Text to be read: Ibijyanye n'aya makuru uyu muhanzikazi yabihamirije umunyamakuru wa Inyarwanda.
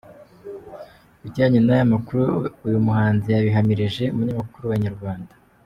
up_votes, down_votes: 2, 0